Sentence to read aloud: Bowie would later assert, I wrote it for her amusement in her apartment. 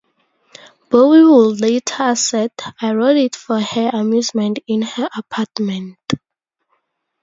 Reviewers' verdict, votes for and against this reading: rejected, 0, 2